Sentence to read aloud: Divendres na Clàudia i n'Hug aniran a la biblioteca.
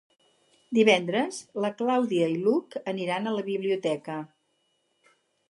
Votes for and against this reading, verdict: 2, 4, rejected